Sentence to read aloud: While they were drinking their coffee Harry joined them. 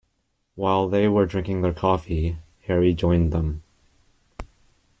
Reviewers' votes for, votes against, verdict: 2, 0, accepted